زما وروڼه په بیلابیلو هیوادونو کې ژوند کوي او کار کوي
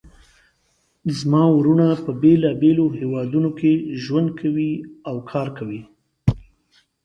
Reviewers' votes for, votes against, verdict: 2, 0, accepted